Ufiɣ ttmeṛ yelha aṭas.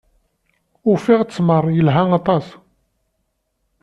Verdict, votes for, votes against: accepted, 2, 0